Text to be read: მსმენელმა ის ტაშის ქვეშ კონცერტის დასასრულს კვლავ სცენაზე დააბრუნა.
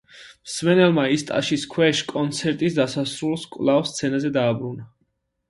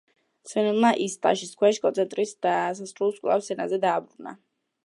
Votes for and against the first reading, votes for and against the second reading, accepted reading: 2, 0, 0, 2, first